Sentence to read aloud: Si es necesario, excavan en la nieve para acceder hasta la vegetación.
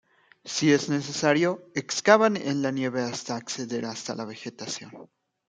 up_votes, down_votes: 0, 2